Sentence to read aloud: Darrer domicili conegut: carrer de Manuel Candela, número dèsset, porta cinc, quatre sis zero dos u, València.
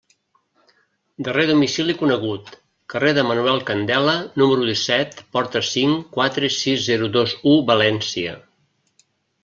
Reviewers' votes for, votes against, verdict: 1, 2, rejected